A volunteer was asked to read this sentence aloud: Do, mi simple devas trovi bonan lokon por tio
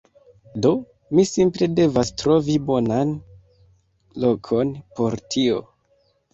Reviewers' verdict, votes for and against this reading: rejected, 1, 2